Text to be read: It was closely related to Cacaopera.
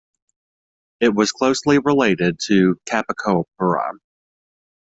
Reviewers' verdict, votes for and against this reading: rejected, 0, 2